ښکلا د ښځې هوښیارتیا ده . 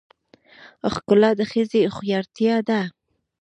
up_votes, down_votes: 2, 0